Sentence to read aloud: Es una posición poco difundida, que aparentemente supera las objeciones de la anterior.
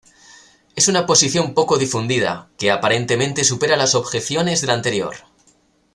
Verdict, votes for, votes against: accepted, 2, 0